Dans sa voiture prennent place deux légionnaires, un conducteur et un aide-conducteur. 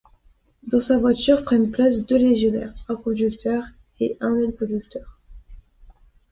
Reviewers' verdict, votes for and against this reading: accepted, 2, 0